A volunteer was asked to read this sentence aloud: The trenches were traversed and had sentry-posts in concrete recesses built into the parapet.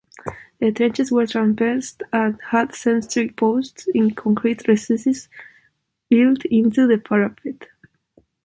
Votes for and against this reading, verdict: 0, 2, rejected